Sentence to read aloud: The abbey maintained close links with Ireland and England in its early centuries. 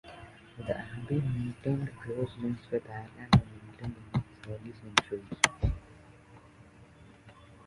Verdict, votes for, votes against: rejected, 1, 2